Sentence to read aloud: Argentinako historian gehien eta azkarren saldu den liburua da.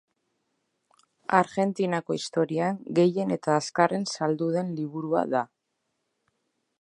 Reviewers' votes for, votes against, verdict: 2, 0, accepted